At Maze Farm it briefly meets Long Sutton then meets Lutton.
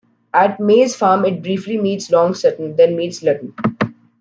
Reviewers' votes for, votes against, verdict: 2, 0, accepted